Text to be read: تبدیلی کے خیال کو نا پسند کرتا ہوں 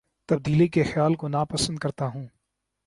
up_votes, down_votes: 2, 0